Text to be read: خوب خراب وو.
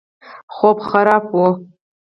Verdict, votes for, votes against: rejected, 2, 4